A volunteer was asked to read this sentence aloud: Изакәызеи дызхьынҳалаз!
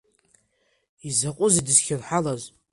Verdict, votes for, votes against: rejected, 1, 2